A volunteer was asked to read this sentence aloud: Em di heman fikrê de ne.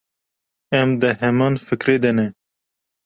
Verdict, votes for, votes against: accepted, 2, 0